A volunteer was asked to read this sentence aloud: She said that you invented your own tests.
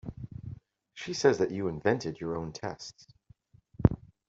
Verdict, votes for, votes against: accepted, 2, 1